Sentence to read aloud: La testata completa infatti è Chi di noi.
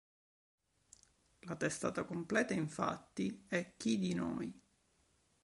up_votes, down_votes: 2, 0